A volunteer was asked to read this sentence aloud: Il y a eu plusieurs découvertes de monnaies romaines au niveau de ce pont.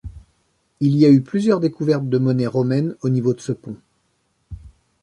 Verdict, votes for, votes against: accepted, 2, 0